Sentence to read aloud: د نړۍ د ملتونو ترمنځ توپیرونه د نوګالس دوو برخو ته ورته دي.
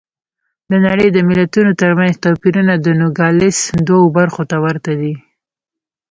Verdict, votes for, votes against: accepted, 2, 0